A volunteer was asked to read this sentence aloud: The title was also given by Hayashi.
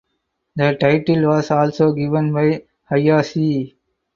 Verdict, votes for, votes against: rejected, 2, 4